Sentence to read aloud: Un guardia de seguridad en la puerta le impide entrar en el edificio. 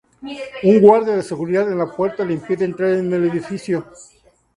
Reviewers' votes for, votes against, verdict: 2, 0, accepted